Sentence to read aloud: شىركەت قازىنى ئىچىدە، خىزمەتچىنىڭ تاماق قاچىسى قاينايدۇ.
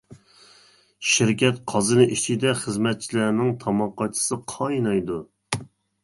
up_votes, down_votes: 0, 2